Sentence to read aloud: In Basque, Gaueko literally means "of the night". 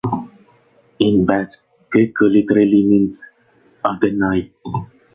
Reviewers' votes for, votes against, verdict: 2, 0, accepted